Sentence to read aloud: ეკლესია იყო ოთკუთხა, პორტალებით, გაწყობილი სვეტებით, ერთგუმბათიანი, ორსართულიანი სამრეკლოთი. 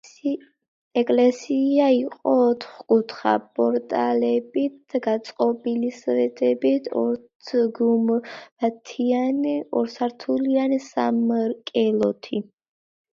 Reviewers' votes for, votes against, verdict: 0, 2, rejected